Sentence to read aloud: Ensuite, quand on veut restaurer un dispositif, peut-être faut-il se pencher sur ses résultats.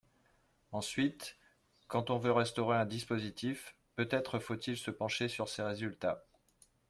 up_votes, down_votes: 2, 1